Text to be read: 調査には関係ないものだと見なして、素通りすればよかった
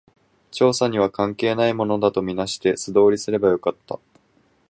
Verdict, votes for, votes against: accepted, 4, 0